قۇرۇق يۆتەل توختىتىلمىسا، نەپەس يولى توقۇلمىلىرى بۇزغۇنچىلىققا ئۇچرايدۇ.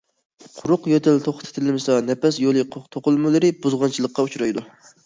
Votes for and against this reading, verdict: 2, 0, accepted